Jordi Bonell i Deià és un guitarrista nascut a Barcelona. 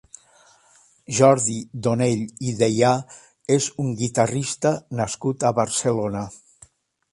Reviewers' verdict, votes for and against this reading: rejected, 2, 3